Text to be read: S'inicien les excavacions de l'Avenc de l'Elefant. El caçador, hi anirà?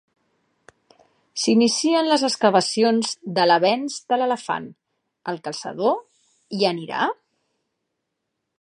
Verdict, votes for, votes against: accepted, 2, 0